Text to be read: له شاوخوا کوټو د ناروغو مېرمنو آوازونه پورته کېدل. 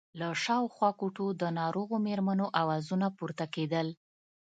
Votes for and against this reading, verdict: 2, 0, accepted